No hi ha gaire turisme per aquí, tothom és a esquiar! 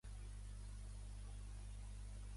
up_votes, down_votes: 0, 2